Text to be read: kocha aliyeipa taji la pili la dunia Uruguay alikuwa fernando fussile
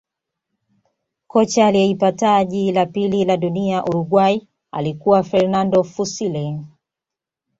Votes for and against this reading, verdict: 2, 0, accepted